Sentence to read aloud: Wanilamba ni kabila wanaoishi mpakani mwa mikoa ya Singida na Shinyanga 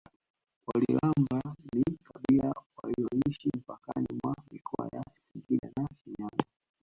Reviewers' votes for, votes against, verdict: 1, 2, rejected